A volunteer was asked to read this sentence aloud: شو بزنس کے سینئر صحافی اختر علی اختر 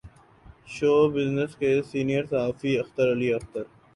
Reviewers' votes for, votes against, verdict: 2, 0, accepted